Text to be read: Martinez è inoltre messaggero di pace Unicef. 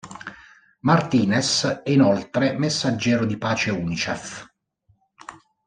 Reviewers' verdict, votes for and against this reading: accepted, 2, 0